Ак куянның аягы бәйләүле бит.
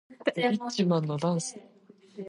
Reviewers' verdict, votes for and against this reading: rejected, 0, 2